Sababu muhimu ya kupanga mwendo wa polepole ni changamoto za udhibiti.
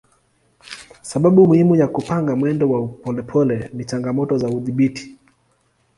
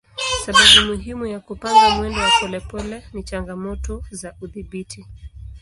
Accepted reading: first